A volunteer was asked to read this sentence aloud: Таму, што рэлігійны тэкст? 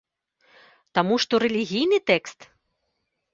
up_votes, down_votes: 2, 0